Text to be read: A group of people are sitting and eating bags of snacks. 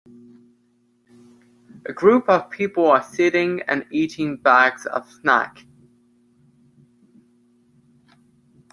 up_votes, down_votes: 1, 2